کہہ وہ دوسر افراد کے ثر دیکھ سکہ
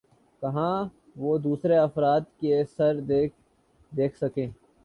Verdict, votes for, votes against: accepted, 2, 0